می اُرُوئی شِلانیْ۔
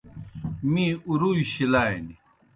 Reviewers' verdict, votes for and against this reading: accepted, 2, 0